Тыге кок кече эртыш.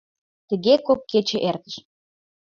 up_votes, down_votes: 1, 2